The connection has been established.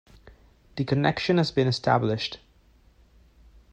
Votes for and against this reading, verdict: 2, 0, accepted